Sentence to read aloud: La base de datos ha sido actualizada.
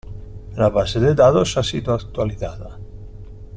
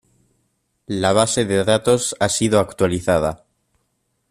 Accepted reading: second